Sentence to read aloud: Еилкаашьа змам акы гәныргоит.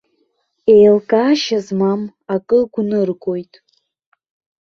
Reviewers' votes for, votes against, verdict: 2, 0, accepted